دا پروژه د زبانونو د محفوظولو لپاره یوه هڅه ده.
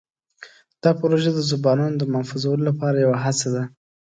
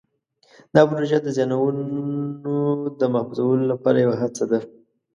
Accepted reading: first